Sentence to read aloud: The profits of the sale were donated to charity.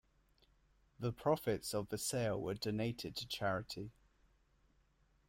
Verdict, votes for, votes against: accepted, 2, 1